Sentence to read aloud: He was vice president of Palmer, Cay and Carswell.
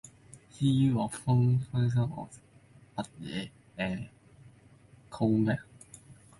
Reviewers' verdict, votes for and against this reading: rejected, 0, 2